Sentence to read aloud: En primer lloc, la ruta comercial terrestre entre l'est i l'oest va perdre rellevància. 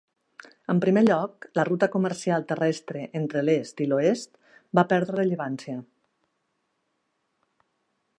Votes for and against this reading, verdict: 0, 2, rejected